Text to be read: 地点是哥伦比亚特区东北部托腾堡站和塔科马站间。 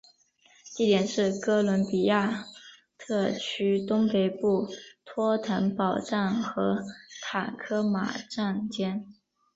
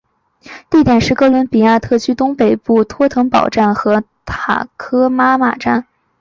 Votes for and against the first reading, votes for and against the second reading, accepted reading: 0, 2, 2, 1, second